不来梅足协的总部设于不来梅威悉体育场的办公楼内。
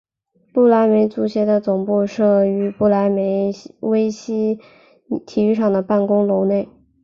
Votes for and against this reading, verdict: 0, 2, rejected